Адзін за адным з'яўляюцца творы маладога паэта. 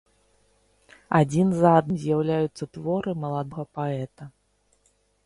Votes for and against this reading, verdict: 0, 2, rejected